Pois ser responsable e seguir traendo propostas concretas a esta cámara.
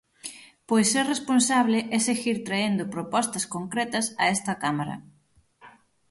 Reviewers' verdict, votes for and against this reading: accepted, 9, 0